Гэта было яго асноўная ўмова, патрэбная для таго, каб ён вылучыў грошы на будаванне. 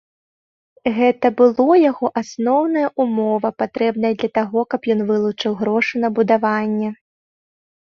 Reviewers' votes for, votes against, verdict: 2, 0, accepted